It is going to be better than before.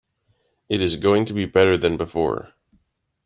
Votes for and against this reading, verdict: 1, 2, rejected